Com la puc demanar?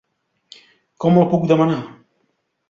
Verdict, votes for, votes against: rejected, 1, 3